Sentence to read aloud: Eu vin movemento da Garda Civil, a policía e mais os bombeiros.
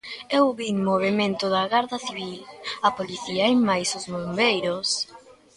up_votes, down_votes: 0, 2